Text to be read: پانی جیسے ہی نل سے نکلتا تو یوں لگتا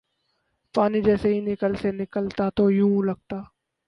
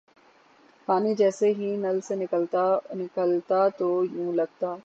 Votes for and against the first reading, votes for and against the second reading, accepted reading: 2, 2, 9, 0, second